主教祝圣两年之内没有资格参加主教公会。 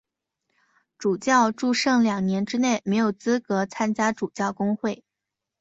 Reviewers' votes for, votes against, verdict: 2, 0, accepted